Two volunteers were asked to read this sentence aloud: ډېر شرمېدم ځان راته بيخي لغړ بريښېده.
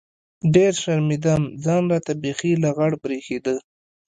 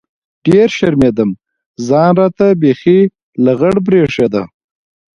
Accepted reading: first